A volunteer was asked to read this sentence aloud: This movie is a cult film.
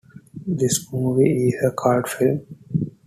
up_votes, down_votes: 0, 2